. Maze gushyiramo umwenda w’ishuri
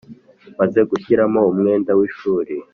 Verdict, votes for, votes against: accepted, 5, 0